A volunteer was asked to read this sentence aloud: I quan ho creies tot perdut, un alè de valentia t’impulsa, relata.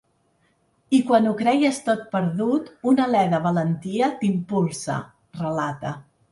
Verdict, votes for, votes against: accepted, 4, 0